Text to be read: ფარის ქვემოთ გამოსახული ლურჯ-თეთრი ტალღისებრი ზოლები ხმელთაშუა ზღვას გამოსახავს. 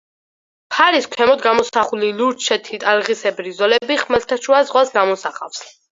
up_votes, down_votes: 4, 0